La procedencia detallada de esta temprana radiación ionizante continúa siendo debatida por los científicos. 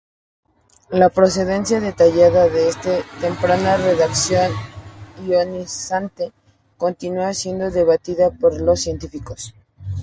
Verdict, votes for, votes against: accepted, 2, 0